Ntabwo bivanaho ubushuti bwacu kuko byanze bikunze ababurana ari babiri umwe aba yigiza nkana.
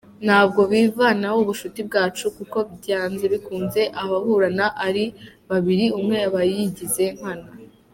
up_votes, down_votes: 1, 2